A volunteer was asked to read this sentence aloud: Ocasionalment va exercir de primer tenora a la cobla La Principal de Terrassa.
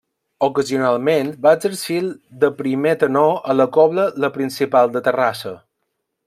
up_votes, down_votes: 0, 2